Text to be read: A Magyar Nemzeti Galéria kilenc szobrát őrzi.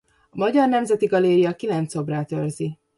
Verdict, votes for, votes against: rejected, 1, 2